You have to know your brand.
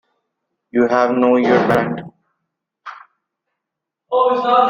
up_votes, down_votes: 0, 2